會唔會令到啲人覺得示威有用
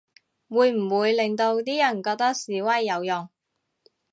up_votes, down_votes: 2, 0